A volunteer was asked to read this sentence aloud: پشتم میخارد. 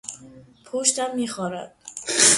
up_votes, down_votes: 3, 0